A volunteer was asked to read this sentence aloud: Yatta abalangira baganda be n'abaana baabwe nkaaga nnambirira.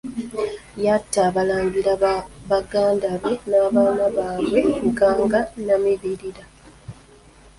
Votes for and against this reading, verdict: 0, 2, rejected